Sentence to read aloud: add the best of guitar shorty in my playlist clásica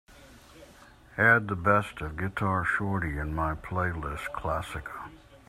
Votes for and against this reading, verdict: 2, 0, accepted